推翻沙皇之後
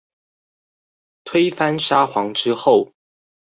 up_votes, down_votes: 4, 0